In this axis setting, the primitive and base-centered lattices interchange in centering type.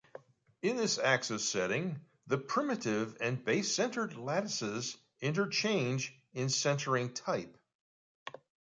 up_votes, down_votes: 2, 0